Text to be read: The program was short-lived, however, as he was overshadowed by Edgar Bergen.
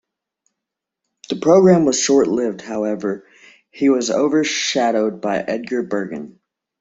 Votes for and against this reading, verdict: 1, 2, rejected